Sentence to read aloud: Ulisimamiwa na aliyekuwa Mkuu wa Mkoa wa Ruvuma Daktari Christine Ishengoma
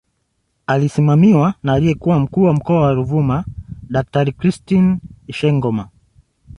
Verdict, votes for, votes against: rejected, 1, 2